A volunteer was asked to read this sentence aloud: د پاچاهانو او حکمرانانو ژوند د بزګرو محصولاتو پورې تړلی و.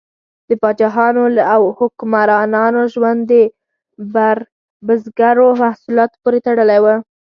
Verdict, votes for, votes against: rejected, 0, 4